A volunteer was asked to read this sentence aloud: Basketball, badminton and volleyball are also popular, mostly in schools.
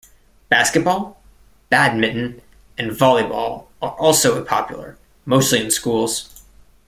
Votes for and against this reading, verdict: 2, 0, accepted